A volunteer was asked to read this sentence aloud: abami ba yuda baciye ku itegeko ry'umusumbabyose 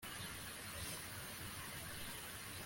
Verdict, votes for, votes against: rejected, 0, 2